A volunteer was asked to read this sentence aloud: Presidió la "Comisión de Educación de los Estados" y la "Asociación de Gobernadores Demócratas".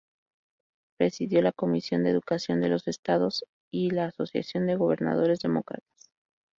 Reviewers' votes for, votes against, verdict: 2, 2, rejected